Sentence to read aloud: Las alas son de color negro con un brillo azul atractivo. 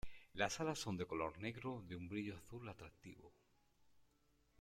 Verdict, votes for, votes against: rejected, 0, 2